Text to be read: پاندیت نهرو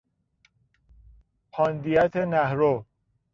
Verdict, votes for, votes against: rejected, 1, 2